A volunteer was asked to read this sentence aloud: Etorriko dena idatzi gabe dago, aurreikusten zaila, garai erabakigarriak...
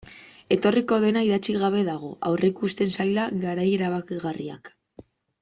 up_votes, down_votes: 1, 2